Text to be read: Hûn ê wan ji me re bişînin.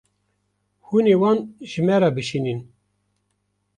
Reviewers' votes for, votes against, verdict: 2, 0, accepted